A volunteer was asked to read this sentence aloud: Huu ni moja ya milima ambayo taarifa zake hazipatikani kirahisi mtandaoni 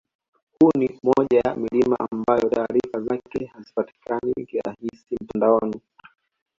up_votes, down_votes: 2, 0